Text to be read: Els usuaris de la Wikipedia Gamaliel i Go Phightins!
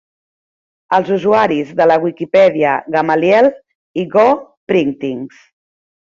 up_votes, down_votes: 1, 2